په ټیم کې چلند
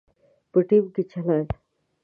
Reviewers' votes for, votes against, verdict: 1, 2, rejected